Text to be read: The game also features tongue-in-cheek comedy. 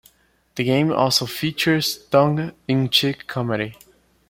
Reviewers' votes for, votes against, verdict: 2, 0, accepted